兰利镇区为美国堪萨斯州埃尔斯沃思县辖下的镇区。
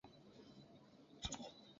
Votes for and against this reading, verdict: 1, 2, rejected